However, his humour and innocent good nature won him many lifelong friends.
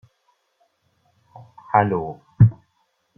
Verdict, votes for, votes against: rejected, 0, 2